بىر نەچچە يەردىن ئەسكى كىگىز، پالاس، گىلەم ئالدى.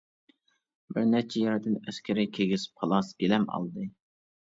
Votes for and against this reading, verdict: 1, 2, rejected